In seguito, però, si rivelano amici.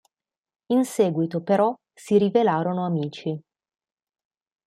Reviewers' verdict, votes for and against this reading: rejected, 1, 2